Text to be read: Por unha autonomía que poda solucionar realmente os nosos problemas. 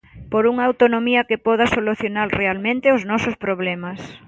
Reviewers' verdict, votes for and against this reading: accepted, 2, 0